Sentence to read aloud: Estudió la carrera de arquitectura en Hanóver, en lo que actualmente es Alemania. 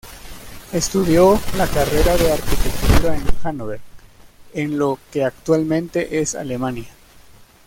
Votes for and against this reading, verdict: 0, 2, rejected